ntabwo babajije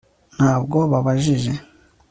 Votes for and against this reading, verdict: 3, 0, accepted